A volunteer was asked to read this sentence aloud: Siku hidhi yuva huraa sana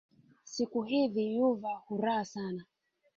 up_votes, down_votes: 0, 2